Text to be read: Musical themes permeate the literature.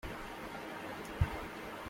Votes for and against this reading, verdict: 0, 2, rejected